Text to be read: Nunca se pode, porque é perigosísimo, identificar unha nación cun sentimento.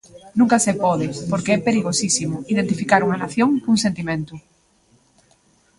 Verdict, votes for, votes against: accepted, 2, 1